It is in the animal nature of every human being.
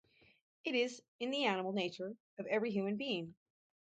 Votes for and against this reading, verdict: 0, 2, rejected